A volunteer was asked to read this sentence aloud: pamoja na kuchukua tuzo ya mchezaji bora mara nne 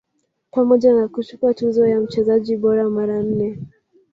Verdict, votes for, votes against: rejected, 0, 2